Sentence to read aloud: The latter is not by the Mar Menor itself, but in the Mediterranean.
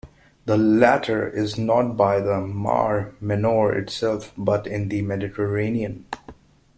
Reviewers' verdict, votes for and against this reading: accepted, 2, 0